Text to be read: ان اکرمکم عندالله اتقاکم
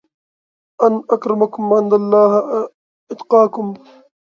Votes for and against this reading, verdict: 2, 1, accepted